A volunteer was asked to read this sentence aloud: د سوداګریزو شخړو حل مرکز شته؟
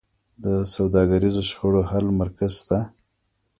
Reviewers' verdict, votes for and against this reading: rejected, 0, 2